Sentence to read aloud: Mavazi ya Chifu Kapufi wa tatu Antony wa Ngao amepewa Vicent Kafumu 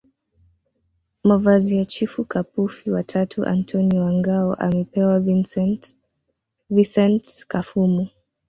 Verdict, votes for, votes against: rejected, 1, 2